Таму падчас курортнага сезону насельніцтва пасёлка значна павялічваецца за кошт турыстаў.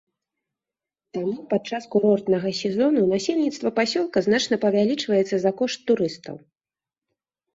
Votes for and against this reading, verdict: 1, 2, rejected